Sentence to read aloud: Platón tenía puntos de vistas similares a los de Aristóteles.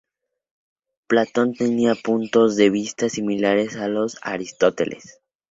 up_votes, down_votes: 0, 2